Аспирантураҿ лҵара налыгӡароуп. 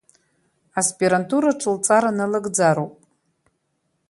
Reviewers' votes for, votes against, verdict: 6, 1, accepted